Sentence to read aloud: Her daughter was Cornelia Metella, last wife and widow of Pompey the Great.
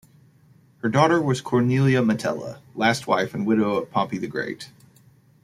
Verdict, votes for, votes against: rejected, 1, 2